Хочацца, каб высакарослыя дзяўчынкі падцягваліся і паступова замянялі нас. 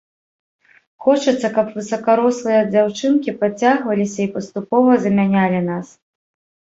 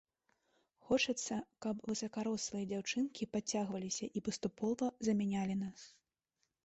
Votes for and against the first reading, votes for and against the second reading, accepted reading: 1, 2, 2, 0, second